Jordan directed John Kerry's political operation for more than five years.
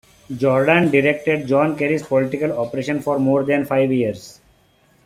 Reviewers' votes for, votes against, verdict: 2, 0, accepted